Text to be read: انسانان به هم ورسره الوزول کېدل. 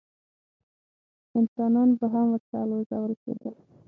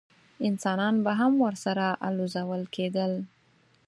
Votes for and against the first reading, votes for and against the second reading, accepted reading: 3, 6, 4, 0, second